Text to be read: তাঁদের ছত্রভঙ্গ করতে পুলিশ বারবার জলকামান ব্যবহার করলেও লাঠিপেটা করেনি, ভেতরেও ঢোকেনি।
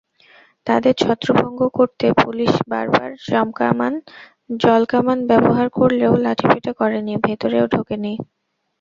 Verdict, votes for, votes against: rejected, 0, 2